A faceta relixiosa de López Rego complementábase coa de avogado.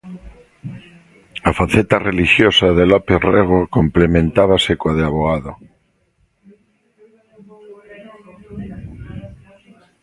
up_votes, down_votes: 2, 0